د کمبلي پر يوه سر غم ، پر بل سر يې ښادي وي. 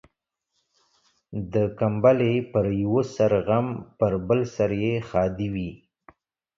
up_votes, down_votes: 2, 0